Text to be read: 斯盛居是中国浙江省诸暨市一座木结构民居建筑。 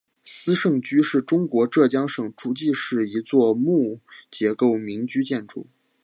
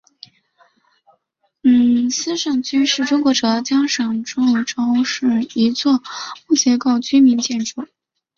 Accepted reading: first